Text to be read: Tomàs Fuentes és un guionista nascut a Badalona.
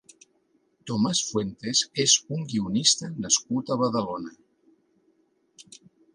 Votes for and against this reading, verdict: 3, 0, accepted